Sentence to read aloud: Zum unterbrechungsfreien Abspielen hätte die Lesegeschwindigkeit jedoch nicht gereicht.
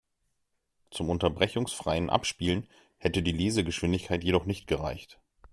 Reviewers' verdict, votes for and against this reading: accepted, 2, 0